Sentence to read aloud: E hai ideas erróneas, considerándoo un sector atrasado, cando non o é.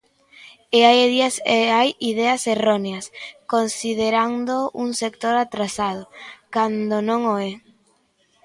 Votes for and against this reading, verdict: 0, 2, rejected